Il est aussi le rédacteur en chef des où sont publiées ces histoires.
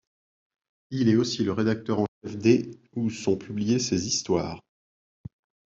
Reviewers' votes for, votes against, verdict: 0, 2, rejected